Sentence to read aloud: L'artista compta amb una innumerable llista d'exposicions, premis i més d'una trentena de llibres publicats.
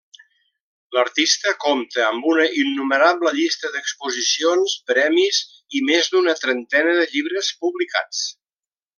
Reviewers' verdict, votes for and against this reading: rejected, 0, 2